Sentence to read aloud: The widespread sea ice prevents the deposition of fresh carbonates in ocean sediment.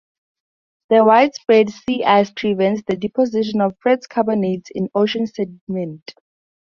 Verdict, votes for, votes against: accepted, 2, 0